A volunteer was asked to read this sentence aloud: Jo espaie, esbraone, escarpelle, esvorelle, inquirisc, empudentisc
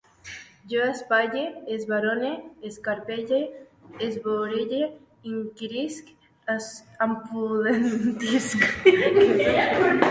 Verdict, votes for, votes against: rejected, 0, 2